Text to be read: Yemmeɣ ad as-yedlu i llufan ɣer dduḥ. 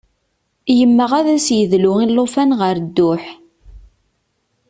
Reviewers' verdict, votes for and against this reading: accepted, 2, 0